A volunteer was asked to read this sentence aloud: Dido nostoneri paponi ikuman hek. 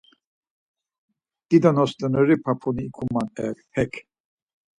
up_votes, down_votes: 2, 4